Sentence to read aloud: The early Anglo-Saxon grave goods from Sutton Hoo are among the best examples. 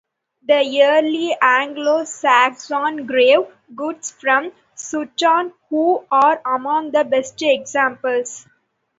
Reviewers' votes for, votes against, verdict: 0, 2, rejected